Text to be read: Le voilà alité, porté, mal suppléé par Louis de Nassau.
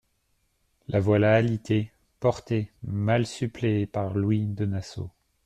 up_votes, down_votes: 0, 2